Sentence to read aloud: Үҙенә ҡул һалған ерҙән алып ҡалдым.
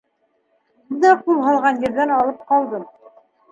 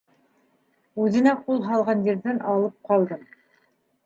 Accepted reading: second